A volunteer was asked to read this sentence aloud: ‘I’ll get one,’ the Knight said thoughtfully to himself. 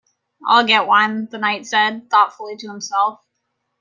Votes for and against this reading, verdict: 2, 0, accepted